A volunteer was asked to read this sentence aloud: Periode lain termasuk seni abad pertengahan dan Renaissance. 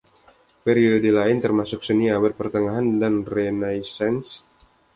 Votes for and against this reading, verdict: 2, 0, accepted